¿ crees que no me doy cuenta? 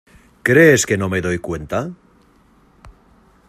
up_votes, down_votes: 2, 0